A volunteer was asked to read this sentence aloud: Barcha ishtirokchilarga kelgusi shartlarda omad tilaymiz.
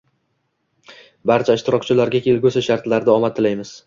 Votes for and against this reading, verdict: 2, 0, accepted